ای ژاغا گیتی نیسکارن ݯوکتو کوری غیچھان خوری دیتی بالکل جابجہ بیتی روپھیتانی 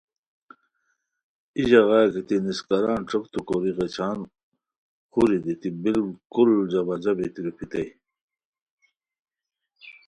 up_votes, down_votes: 2, 0